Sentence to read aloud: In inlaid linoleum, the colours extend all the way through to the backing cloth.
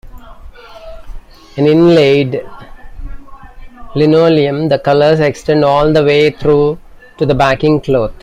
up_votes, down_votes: 1, 2